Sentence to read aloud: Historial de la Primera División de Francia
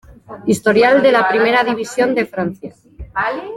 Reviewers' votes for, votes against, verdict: 2, 3, rejected